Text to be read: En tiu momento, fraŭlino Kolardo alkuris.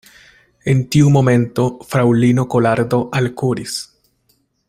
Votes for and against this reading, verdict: 2, 0, accepted